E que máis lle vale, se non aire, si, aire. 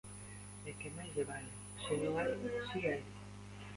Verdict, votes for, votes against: rejected, 1, 2